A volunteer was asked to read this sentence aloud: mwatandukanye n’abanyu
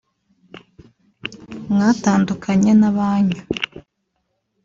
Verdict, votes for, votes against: accepted, 2, 0